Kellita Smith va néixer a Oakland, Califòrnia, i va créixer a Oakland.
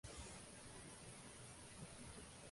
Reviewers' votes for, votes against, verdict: 0, 2, rejected